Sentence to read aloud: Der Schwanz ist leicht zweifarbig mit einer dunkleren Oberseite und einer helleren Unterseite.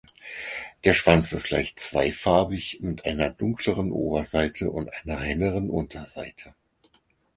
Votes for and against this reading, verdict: 4, 0, accepted